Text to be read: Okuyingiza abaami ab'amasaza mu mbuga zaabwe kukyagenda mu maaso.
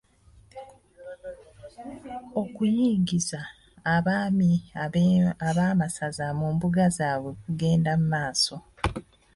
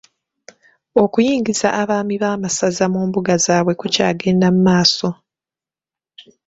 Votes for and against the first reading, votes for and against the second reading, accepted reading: 1, 2, 3, 1, second